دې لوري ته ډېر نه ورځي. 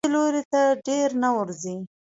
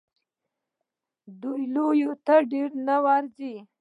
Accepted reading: first